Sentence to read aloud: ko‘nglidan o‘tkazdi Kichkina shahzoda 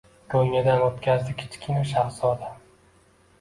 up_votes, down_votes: 2, 0